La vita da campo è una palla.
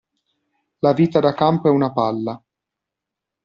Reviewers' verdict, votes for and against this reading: accepted, 2, 0